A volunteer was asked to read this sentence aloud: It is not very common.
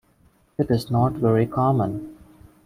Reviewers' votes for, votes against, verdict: 2, 0, accepted